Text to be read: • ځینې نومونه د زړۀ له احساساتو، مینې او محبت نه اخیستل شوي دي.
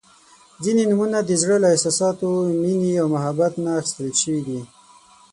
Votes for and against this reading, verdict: 12, 0, accepted